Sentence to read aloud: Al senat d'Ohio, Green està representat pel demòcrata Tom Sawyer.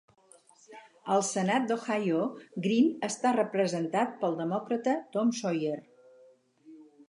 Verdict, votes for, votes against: accepted, 4, 0